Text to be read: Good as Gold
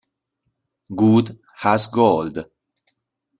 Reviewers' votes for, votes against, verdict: 0, 2, rejected